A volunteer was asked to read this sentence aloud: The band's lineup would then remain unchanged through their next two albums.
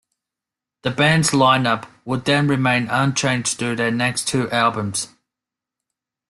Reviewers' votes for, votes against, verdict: 2, 0, accepted